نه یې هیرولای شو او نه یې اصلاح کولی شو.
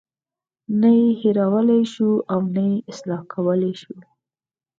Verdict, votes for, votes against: accepted, 4, 0